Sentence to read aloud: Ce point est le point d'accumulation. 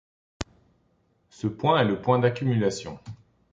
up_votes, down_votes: 2, 0